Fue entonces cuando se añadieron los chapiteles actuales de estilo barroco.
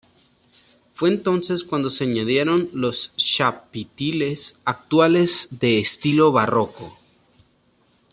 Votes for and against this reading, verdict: 0, 2, rejected